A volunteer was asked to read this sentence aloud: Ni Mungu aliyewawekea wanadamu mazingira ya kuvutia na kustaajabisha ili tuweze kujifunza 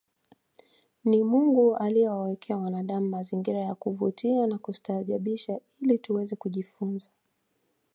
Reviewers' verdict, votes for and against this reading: accepted, 2, 0